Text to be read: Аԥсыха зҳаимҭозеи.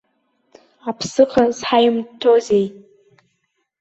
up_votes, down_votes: 0, 2